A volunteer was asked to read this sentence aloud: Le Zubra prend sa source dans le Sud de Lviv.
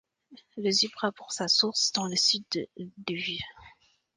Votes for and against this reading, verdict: 2, 1, accepted